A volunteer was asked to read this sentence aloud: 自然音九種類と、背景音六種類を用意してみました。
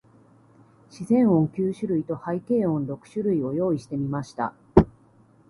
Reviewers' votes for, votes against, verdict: 2, 0, accepted